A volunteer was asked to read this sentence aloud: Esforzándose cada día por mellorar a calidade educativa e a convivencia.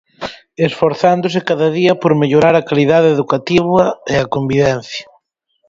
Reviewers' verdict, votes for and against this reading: accepted, 4, 0